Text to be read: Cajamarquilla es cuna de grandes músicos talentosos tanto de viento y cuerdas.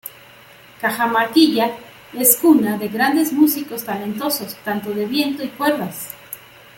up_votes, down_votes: 2, 0